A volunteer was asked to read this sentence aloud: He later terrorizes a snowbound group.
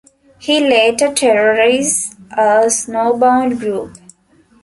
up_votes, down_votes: 2, 0